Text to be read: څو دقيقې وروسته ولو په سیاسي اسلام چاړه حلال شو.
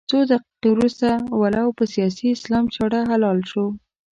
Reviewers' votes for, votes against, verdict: 2, 0, accepted